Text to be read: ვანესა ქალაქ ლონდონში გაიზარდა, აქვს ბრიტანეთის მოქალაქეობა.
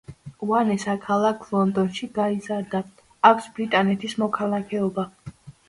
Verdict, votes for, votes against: accepted, 2, 1